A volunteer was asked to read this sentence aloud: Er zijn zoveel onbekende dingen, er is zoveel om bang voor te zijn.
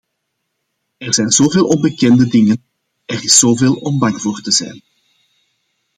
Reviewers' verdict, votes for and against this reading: accepted, 2, 0